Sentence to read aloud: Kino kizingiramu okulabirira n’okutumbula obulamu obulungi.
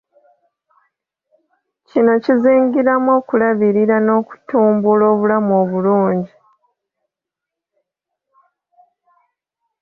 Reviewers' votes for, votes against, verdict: 3, 1, accepted